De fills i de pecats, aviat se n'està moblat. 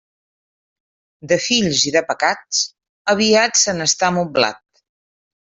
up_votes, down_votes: 1, 2